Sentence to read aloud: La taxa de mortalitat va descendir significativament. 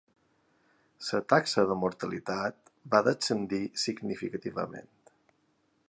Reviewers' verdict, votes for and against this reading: rejected, 0, 2